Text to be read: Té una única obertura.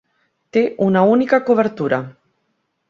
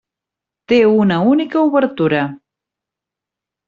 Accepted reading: second